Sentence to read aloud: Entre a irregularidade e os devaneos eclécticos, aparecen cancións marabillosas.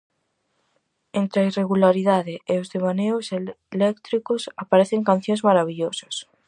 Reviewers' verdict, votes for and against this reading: rejected, 0, 4